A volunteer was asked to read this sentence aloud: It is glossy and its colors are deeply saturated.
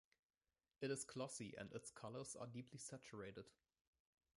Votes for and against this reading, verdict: 2, 1, accepted